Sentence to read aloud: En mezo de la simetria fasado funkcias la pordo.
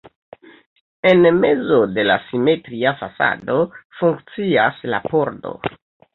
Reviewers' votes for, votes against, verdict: 1, 2, rejected